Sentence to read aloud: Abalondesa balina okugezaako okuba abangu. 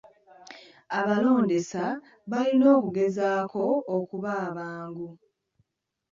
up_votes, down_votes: 0, 2